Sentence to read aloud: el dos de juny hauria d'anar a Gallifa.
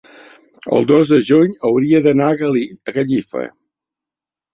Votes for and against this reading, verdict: 1, 3, rejected